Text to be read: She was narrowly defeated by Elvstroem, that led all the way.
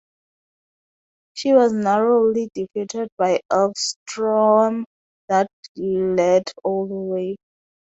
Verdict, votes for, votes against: accepted, 2, 0